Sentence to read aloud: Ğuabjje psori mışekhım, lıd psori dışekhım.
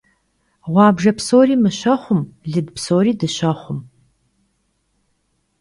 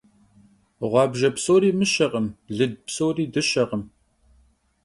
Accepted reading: second